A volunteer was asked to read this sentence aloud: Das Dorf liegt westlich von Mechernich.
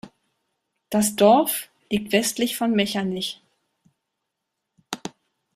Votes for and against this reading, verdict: 1, 2, rejected